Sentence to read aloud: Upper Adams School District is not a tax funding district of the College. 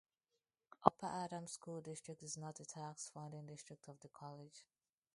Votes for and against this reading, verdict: 0, 2, rejected